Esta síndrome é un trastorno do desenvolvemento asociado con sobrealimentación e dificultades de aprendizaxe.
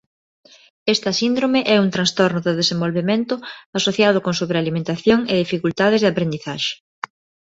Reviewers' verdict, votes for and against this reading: accepted, 2, 1